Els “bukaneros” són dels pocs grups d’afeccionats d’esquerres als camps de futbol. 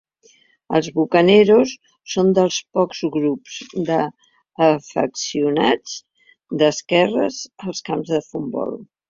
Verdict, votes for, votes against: rejected, 2, 3